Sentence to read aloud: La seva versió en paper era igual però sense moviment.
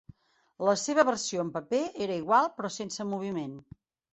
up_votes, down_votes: 3, 0